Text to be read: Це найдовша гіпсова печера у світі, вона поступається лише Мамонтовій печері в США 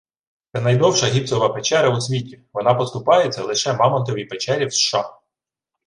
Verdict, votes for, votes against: rejected, 1, 2